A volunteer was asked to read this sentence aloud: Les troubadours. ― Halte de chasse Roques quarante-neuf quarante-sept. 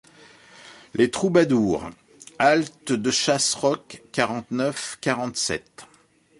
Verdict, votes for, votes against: accepted, 2, 0